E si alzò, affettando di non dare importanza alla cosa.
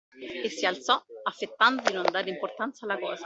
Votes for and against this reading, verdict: 2, 1, accepted